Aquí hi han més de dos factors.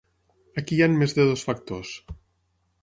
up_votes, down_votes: 6, 0